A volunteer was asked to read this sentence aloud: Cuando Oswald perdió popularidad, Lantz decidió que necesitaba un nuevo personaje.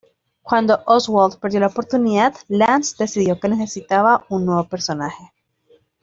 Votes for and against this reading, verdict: 1, 2, rejected